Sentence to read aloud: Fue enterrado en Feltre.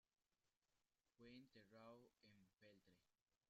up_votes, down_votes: 0, 2